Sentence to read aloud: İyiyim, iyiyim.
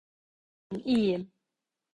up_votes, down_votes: 0, 2